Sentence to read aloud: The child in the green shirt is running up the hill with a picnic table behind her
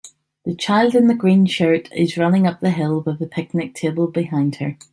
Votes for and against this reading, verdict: 2, 0, accepted